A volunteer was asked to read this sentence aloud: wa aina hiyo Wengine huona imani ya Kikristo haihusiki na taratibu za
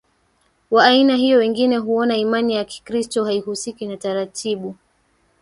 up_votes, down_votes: 1, 2